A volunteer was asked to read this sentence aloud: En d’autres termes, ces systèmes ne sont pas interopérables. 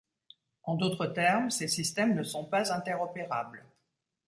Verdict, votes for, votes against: accepted, 2, 0